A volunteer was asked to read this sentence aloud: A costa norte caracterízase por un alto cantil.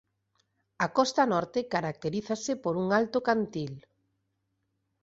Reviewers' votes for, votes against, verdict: 2, 0, accepted